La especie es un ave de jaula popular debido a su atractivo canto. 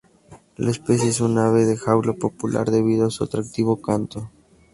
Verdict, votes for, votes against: accepted, 2, 0